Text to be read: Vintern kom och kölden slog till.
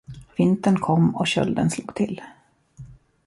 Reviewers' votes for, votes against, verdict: 2, 0, accepted